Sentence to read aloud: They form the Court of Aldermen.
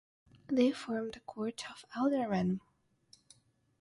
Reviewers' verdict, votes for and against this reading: rejected, 3, 3